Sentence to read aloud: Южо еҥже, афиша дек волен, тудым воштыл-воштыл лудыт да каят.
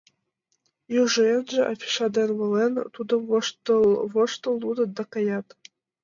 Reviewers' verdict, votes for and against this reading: rejected, 0, 2